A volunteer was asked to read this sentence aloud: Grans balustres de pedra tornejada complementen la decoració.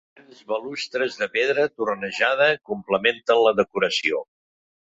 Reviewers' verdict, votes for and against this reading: rejected, 0, 2